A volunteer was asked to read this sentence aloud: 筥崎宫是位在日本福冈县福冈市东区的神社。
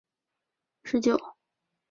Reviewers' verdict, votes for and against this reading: rejected, 0, 5